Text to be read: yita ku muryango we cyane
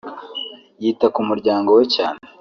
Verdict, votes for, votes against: rejected, 0, 2